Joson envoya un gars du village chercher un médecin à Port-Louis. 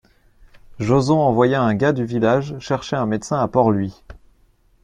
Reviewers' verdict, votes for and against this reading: accepted, 2, 0